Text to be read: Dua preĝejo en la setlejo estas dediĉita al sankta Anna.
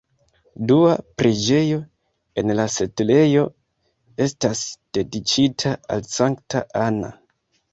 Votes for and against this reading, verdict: 0, 2, rejected